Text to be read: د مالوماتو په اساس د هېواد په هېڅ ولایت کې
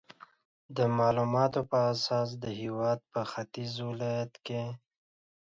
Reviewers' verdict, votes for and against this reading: rejected, 0, 2